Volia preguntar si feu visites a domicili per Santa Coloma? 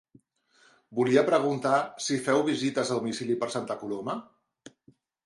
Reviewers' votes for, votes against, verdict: 2, 1, accepted